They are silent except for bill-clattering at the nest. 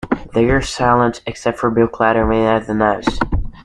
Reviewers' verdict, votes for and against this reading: accepted, 2, 1